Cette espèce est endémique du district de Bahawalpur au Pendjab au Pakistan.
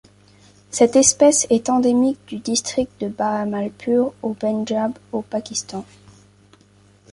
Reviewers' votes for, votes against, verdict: 0, 2, rejected